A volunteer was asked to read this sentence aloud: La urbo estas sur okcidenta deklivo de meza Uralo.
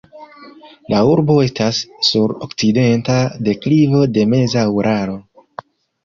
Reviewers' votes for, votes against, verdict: 0, 2, rejected